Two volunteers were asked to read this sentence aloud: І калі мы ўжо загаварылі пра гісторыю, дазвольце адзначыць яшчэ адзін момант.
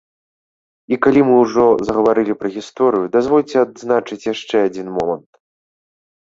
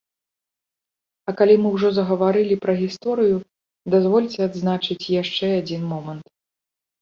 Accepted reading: first